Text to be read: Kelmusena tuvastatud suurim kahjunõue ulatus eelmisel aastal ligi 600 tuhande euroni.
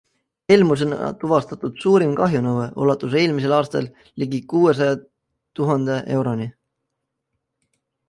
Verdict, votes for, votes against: rejected, 0, 2